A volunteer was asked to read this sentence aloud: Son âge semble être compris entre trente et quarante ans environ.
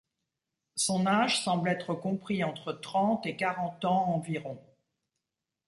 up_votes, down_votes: 2, 0